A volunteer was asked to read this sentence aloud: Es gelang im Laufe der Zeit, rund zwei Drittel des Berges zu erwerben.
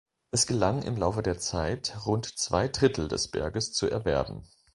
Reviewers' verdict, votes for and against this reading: accepted, 2, 0